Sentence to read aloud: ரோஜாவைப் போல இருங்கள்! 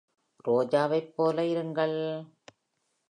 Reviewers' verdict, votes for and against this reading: accepted, 2, 0